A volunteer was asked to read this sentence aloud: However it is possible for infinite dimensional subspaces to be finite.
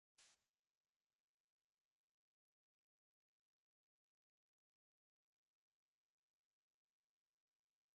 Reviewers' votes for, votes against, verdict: 1, 2, rejected